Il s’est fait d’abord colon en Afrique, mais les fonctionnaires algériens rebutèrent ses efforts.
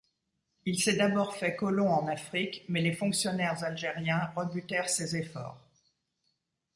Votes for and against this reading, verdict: 1, 2, rejected